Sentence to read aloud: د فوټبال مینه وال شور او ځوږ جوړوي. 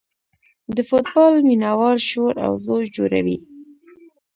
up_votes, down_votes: 0, 2